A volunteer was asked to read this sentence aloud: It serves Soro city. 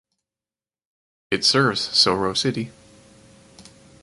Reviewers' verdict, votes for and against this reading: accepted, 4, 0